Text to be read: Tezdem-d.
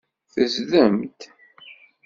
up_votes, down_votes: 2, 0